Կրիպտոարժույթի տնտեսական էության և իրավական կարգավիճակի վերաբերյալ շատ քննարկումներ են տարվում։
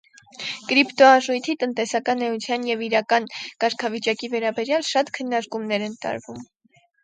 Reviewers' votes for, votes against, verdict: 0, 4, rejected